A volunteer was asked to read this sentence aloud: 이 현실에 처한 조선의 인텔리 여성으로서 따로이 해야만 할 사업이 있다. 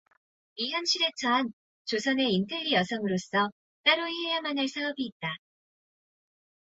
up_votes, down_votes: 0, 2